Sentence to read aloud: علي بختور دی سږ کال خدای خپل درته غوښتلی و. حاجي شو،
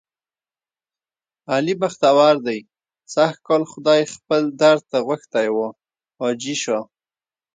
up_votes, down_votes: 2, 1